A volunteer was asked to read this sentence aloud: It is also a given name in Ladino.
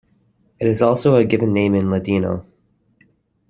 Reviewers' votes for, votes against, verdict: 2, 0, accepted